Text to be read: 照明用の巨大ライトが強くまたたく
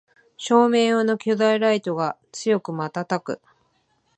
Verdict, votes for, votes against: accepted, 9, 0